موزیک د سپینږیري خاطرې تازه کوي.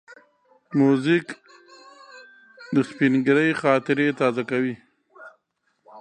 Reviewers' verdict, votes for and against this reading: rejected, 1, 2